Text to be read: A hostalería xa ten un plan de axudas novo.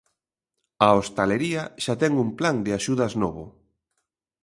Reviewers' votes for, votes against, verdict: 2, 0, accepted